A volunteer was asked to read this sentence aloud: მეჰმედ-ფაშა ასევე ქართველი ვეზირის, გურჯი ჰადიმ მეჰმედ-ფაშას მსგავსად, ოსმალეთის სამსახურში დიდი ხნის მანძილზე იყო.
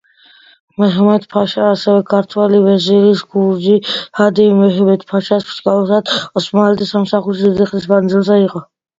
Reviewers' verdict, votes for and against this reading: accepted, 2, 1